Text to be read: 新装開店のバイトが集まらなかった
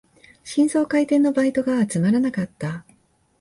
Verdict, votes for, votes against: accepted, 2, 0